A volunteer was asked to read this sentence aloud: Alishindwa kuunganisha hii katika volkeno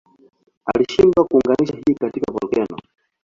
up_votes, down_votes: 1, 2